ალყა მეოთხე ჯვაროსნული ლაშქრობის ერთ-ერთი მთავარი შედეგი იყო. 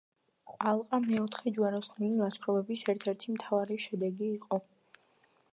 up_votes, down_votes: 2, 1